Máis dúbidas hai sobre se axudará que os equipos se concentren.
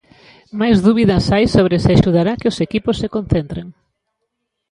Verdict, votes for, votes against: accepted, 2, 0